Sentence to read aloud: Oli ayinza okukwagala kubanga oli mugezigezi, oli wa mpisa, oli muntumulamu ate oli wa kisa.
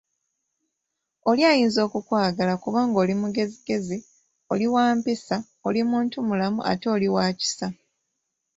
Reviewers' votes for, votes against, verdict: 2, 0, accepted